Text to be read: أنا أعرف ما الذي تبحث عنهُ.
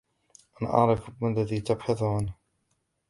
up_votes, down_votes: 2, 1